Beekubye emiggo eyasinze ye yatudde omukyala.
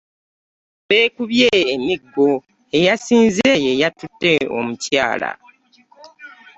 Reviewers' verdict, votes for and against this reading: rejected, 0, 2